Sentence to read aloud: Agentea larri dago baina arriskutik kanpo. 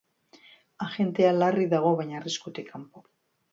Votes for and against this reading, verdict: 2, 0, accepted